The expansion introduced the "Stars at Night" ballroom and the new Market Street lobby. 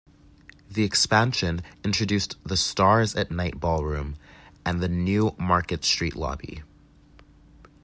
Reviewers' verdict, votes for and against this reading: accepted, 2, 0